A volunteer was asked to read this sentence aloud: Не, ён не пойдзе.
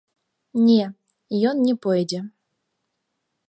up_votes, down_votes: 2, 0